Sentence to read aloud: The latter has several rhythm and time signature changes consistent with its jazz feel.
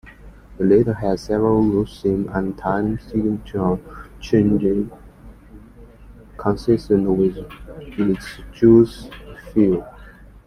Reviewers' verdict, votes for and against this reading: rejected, 0, 2